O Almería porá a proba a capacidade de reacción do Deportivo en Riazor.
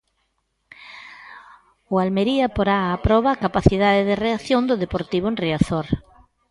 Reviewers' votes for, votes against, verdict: 2, 0, accepted